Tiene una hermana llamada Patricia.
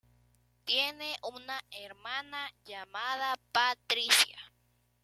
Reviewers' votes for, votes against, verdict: 2, 0, accepted